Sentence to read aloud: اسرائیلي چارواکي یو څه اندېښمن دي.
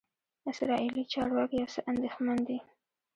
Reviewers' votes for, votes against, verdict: 0, 2, rejected